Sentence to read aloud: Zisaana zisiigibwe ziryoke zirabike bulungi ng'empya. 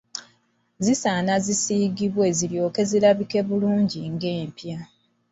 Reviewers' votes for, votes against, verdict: 2, 0, accepted